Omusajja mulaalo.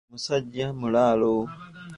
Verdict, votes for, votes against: accepted, 2, 0